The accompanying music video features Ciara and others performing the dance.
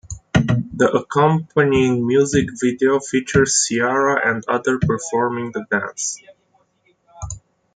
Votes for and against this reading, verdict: 1, 2, rejected